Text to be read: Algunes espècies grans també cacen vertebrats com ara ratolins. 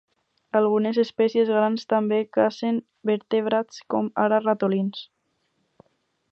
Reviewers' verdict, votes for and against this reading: accepted, 4, 0